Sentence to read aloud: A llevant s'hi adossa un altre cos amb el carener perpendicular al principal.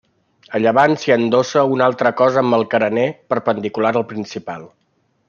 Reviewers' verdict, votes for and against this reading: rejected, 1, 2